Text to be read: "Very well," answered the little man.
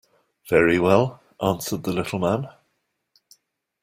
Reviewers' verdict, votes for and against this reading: accepted, 2, 0